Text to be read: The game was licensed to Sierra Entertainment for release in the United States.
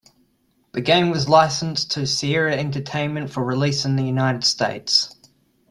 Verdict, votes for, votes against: accepted, 2, 1